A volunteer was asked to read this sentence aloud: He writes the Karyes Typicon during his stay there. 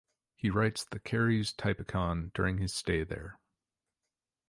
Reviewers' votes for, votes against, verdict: 2, 0, accepted